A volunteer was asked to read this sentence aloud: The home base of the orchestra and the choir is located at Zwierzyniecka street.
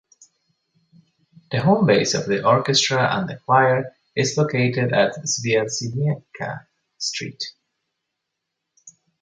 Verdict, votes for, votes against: accepted, 2, 0